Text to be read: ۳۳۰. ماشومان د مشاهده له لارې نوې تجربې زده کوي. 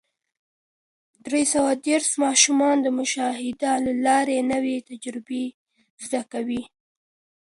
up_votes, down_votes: 0, 2